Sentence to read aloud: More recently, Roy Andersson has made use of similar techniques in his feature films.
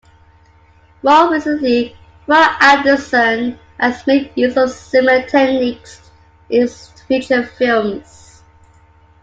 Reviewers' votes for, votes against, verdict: 2, 0, accepted